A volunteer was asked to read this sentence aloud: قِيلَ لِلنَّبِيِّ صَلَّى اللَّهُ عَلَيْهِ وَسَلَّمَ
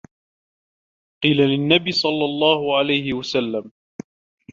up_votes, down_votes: 1, 2